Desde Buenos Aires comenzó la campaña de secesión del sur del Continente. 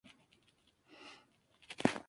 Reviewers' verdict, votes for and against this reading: rejected, 0, 4